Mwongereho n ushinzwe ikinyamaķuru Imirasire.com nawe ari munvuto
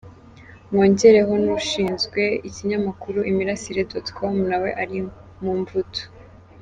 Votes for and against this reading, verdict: 0, 3, rejected